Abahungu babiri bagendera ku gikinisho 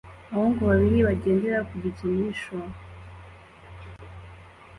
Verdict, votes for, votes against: accepted, 2, 0